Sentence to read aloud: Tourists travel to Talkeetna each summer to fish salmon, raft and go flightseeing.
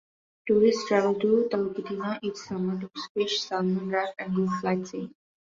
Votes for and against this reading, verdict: 0, 2, rejected